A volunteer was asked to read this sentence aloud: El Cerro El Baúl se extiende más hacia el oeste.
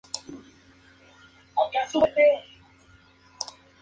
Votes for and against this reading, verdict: 0, 2, rejected